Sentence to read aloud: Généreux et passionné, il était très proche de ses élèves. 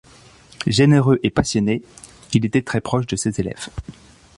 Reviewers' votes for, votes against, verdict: 3, 0, accepted